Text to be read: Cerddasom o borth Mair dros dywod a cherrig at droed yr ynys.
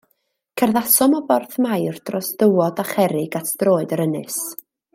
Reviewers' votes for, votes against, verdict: 2, 0, accepted